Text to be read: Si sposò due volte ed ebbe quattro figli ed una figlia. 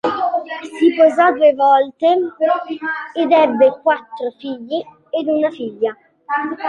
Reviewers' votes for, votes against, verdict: 2, 0, accepted